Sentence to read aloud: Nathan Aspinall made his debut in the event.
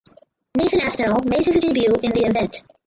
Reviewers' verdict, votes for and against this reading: accepted, 4, 2